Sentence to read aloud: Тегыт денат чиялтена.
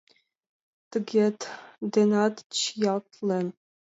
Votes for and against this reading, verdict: 1, 2, rejected